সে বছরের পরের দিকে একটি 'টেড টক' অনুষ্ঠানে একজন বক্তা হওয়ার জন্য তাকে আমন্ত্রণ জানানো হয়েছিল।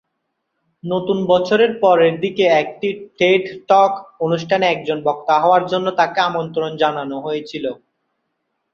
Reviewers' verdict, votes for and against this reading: rejected, 0, 2